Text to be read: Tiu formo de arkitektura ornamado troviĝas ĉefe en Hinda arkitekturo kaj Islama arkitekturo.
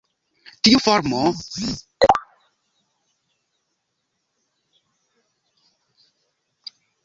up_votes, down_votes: 0, 2